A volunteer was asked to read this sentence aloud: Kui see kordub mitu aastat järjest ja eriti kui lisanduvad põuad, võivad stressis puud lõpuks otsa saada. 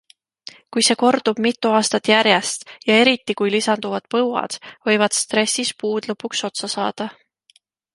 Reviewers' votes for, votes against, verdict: 2, 0, accepted